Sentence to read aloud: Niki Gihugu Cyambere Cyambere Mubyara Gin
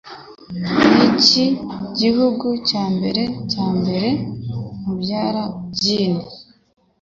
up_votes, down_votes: 2, 0